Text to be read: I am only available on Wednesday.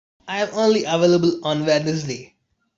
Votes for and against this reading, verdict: 1, 2, rejected